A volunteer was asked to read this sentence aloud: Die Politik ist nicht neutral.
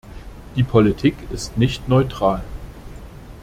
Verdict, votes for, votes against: accepted, 2, 0